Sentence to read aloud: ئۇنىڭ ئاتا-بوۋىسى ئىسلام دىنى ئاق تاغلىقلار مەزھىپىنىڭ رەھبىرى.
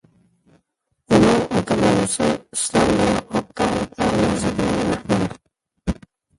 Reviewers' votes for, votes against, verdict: 0, 2, rejected